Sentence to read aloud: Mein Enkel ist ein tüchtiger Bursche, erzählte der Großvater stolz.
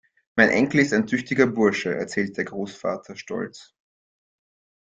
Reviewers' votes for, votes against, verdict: 2, 0, accepted